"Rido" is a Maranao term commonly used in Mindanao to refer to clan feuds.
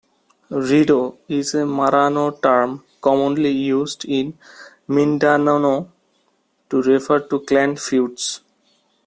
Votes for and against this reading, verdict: 2, 1, accepted